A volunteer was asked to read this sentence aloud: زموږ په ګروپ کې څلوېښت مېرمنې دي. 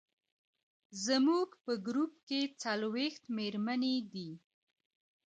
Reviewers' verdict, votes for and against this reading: rejected, 0, 2